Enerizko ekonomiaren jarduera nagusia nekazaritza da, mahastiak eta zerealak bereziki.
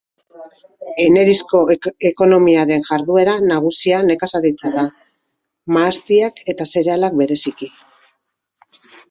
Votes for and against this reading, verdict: 2, 1, accepted